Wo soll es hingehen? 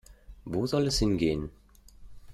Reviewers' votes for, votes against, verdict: 2, 0, accepted